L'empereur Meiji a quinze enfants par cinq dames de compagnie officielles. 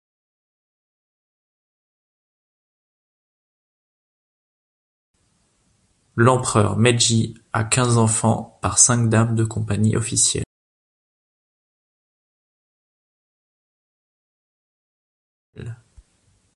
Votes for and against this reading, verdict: 0, 2, rejected